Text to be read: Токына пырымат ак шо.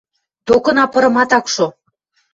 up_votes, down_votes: 2, 0